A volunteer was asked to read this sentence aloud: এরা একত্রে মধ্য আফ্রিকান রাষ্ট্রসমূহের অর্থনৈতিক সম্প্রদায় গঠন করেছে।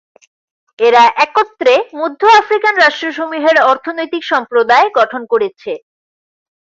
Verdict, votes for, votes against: accepted, 2, 0